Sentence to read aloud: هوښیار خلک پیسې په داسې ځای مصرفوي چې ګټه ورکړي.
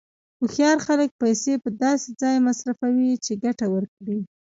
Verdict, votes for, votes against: accepted, 2, 0